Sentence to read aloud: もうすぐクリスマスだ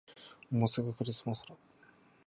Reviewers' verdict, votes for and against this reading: rejected, 0, 2